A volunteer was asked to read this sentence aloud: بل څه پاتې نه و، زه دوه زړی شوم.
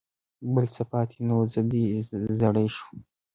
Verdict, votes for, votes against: accepted, 2, 0